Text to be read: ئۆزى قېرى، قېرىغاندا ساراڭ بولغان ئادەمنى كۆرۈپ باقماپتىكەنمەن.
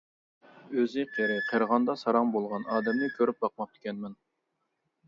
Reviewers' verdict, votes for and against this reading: accepted, 2, 0